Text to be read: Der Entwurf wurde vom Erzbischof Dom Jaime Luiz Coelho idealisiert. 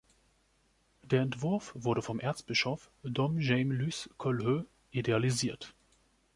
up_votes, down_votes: 1, 2